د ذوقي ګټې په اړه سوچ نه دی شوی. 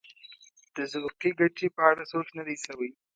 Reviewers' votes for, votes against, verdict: 1, 2, rejected